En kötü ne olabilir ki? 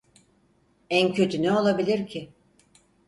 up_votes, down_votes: 4, 0